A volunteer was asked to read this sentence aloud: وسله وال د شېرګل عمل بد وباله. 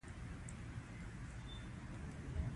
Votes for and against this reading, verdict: 0, 2, rejected